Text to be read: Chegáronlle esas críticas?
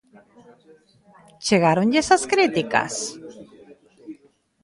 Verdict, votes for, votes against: rejected, 1, 2